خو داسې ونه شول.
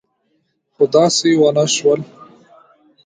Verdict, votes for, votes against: rejected, 0, 2